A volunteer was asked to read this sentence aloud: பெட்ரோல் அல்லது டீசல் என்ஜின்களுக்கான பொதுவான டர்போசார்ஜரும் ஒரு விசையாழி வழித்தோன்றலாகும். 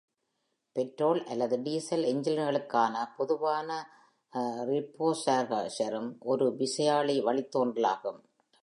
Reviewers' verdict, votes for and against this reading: rejected, 1, 2